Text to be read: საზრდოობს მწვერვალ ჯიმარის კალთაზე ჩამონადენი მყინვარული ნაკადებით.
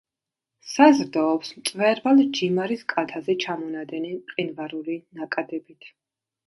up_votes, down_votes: 1, 2